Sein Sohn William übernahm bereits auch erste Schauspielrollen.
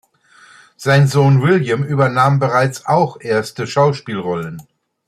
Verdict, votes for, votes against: accepted, 2, 0